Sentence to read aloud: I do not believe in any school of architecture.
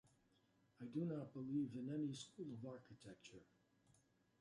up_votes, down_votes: 0, 2